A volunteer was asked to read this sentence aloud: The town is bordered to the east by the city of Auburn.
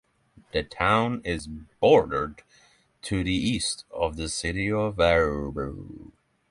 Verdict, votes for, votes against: rejected, 3, 6